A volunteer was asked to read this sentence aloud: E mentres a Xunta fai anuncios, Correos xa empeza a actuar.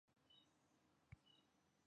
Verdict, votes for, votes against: rejected, 0, 2